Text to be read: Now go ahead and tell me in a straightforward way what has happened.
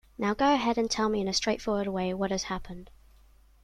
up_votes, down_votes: 2, 0